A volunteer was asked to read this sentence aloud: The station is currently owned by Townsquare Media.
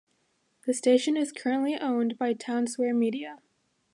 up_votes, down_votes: 2, 0